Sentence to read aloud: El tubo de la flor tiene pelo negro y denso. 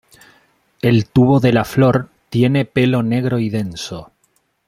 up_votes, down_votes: 2, 0